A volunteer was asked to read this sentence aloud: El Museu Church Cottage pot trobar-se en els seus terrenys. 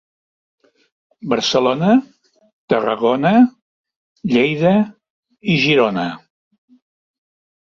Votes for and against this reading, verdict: 0, 2, rejected